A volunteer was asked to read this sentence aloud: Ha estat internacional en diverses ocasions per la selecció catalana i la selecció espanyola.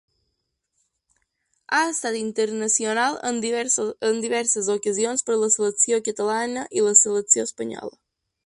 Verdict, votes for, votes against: rejected, 0, 2